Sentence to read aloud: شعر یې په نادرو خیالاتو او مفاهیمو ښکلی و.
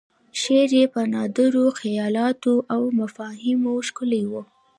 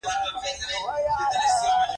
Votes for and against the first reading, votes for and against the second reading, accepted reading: 2, 0, 1, 2, first